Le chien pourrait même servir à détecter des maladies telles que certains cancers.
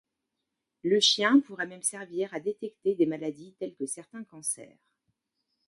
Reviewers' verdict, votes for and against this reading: accepted, 2, 0